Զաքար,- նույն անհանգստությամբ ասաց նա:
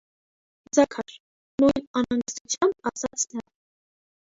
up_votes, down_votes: 0, 2